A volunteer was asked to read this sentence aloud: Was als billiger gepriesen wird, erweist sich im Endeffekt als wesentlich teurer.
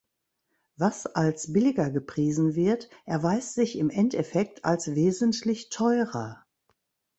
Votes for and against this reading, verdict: 3, 0, accepted